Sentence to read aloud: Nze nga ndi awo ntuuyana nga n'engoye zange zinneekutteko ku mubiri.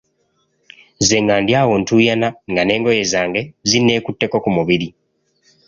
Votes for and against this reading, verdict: 2, 0, accepted